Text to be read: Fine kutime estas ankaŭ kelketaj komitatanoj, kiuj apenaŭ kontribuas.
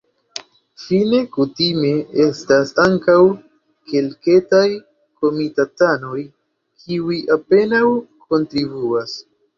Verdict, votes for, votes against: accepted, 2, 0